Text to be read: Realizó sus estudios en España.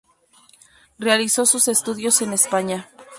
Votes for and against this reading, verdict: 2, 0, accepted